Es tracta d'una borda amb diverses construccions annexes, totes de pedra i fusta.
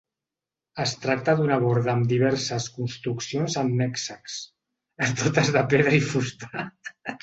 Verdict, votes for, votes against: rejected, 0, 2